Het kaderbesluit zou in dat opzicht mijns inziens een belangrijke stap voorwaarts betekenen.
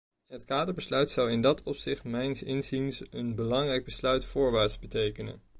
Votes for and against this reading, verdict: 1, 2, rejected